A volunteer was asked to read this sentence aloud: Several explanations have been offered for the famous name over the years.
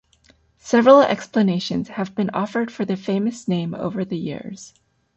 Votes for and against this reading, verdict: 2, 0, accepted